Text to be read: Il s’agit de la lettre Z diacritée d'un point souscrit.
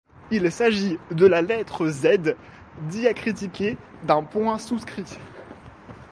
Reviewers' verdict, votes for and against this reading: rejected, 1, 2